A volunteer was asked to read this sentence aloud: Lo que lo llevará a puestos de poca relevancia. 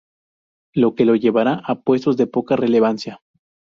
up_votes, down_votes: 2, 0